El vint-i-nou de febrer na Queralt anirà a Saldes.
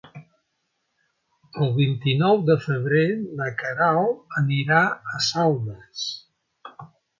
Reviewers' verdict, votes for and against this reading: accepted, 3, 0